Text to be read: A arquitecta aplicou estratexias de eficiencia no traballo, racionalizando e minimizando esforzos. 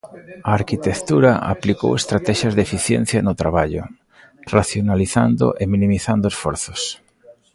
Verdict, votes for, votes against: rejected, 1, 2